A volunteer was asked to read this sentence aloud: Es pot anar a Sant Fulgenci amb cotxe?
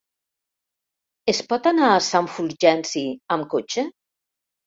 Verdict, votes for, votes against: accepted, 2, 0